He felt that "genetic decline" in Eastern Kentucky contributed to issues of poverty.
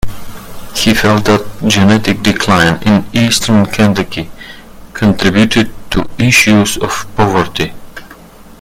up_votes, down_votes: 1, 2